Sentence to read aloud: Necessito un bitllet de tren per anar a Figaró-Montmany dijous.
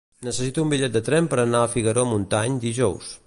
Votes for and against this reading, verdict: 0, 2, rejected